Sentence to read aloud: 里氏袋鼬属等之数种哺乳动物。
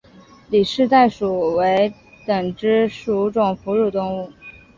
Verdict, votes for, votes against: accepted, 4, 2